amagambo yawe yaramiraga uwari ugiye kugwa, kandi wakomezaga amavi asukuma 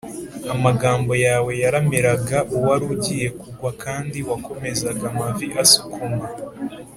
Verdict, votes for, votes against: accepted, 3, 0